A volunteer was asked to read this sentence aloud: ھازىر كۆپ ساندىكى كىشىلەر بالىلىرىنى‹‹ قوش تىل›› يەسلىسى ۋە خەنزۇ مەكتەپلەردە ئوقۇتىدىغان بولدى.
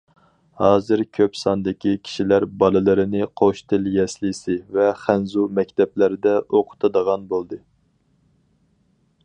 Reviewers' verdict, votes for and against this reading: accepted, 4, 0